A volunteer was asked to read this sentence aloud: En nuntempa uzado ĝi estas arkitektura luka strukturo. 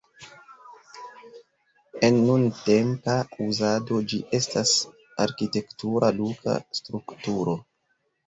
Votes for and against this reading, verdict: 2, 1, accepted